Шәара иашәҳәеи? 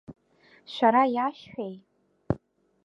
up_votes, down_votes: 2, 0